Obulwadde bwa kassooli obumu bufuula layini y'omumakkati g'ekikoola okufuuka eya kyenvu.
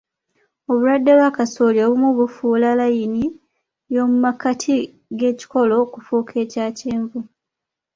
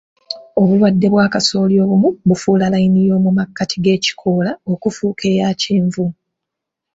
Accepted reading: first